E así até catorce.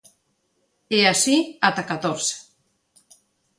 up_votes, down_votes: 0, 2